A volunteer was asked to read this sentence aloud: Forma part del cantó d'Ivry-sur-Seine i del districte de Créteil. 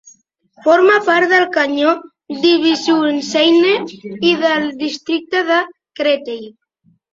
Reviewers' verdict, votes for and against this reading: rejected, 0, 2